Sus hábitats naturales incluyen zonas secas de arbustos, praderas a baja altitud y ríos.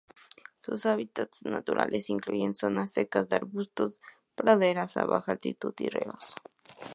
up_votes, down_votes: 2, 0